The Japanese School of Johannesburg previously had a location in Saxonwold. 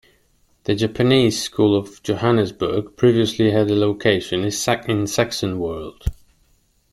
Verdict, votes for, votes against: rejected, 1, 2